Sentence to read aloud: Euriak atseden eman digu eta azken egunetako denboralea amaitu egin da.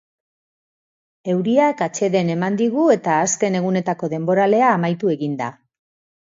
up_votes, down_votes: 2, 0